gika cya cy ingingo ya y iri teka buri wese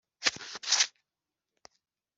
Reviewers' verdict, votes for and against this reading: accepted, 2, 1